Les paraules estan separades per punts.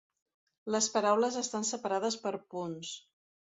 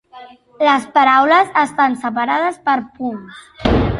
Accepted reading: first